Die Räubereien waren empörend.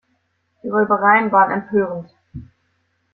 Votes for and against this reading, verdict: 2, 1, accepted